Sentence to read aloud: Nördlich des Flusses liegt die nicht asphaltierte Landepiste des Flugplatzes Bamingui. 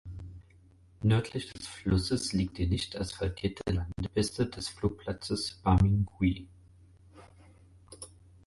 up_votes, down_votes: 4, 0